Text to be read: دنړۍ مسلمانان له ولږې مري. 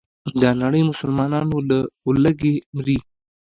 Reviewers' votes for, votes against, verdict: 2, 1, accepted